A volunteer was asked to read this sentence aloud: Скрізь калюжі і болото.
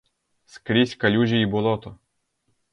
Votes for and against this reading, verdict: 2, 0, accepted